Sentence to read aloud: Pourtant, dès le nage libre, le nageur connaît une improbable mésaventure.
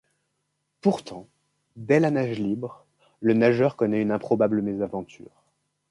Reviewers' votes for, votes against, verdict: 1, 2, rejected